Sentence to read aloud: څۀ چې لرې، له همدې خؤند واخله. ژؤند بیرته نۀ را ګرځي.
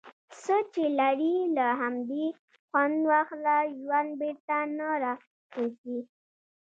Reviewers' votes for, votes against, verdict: 1, 2, rejected